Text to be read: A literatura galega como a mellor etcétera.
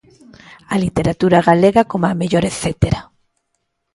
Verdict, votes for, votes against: accepted, 2, 0